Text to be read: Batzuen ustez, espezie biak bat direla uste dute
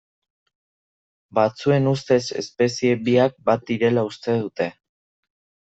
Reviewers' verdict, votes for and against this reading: accepted, 2, 0